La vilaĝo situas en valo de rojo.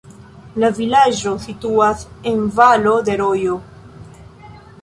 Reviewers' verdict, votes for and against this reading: accepted, 2, 1